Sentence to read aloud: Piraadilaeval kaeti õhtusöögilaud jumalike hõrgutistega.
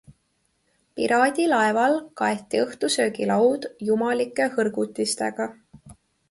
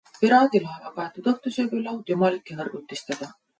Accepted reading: first